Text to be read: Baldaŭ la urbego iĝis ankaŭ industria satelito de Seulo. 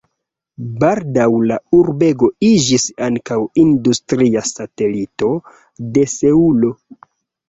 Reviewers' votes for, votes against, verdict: 2, 0, accepted